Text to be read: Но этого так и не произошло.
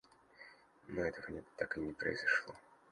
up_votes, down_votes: 0, 2